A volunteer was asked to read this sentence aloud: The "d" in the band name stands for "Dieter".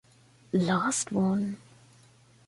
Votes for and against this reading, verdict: 0, 2, rejected